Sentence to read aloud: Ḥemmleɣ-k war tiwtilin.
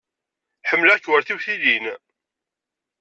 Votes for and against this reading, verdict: 2, 0, accepted